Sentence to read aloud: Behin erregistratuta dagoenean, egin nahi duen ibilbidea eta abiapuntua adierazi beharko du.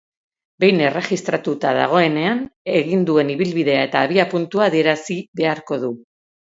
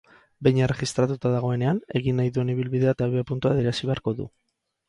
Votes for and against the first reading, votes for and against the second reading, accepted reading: 2, 4, 2, 0, second